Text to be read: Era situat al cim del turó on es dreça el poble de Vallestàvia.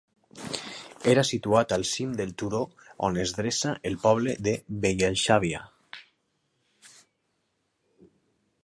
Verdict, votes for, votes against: rejected, 0, 2